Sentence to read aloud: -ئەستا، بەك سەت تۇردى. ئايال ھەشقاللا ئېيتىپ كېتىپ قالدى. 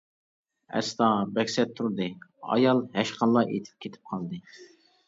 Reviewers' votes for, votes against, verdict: 2, 0, accepted